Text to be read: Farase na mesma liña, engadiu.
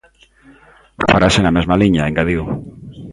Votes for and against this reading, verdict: 2, 0, accepted